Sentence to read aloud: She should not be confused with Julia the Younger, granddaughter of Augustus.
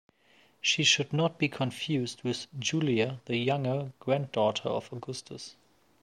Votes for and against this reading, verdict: 2, 0, accepted